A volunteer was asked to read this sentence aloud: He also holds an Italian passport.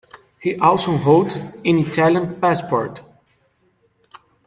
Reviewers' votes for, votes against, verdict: 2, 0, accepted